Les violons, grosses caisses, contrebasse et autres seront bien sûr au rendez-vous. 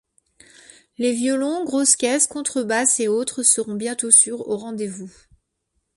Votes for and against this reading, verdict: 0, 2, rejected